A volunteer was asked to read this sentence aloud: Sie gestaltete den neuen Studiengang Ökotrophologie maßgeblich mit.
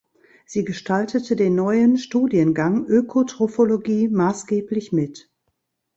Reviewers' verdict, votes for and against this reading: accepted, 3, 0